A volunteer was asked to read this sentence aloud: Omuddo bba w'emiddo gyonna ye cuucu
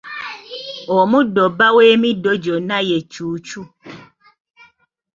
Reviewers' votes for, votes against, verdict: 2, 0, accepted